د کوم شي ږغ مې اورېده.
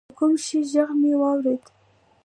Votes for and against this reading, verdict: 2, 0, accepted